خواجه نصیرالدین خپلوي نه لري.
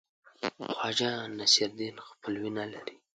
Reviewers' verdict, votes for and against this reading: accepted, 2, 0